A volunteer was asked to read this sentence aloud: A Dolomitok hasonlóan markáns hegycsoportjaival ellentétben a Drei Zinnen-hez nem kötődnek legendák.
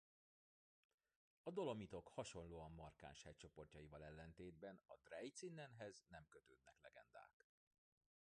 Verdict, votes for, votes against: accepted, 2, 0